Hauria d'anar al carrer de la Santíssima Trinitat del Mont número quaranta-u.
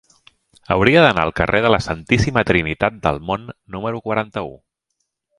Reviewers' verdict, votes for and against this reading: accepted, 2, 0